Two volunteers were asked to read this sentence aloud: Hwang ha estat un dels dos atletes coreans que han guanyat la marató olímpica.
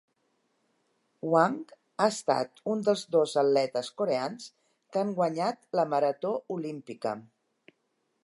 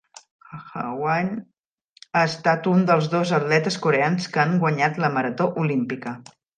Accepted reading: first